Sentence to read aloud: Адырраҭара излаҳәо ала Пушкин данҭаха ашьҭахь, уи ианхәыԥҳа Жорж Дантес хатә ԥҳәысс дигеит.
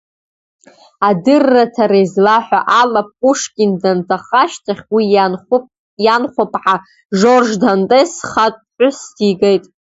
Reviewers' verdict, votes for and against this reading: rejected, 0, 2